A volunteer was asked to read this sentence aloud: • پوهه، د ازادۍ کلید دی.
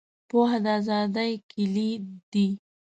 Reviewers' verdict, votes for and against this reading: rejected, 1, 2